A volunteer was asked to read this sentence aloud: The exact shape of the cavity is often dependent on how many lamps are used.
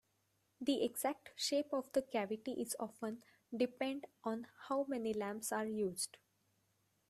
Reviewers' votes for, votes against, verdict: 2, 1, accepted